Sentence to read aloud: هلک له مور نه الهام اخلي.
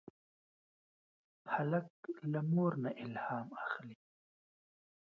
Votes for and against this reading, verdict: 2, 0, accepted